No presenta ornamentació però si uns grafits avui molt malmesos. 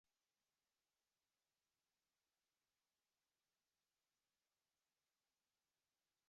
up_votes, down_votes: 0, 2